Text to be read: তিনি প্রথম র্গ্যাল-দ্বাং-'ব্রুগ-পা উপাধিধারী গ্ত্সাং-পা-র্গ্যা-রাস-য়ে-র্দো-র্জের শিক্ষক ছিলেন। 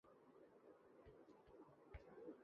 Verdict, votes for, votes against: rejected, 0, 2